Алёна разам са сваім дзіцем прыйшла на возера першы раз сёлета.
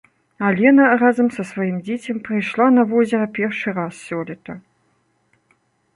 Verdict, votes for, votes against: rejected, 0, 2